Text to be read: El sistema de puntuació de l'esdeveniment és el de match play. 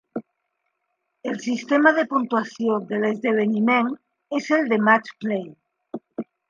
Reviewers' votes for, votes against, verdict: 3, 2, accepted